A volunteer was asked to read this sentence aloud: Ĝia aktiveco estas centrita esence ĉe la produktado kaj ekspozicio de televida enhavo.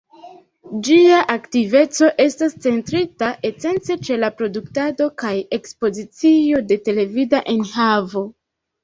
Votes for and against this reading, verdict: 0, 2, rejected